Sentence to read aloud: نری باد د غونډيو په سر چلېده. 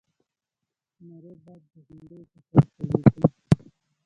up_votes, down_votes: 0, 2